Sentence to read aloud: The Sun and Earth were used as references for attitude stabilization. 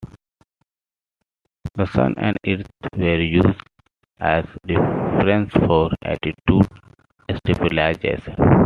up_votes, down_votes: 2, 1